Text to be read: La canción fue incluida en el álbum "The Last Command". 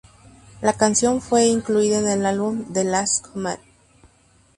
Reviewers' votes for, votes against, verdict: 0, 2, rejected